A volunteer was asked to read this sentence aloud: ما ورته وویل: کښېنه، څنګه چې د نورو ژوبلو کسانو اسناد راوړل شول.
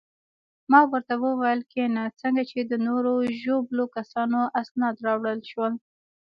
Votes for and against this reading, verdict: 2, 0, accepted